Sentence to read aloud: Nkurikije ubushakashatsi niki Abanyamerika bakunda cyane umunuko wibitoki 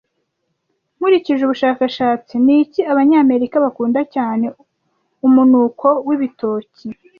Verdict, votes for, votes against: accepted, 2, 0